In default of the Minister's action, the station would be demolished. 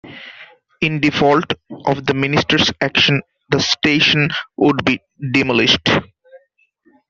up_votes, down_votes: 2, 0